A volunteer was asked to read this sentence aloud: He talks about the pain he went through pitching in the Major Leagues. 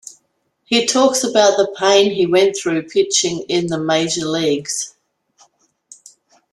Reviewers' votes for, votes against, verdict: 2, 0, accepted